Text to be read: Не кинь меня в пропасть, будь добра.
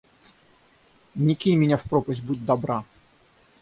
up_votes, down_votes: 3, 3